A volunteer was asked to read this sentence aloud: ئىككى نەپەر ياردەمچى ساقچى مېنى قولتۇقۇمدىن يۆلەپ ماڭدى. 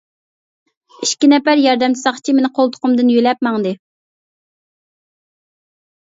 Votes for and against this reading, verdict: 2, 0, accepted